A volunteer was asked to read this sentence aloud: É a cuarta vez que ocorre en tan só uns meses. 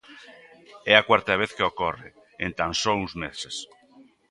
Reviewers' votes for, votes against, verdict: 2, 0, accepted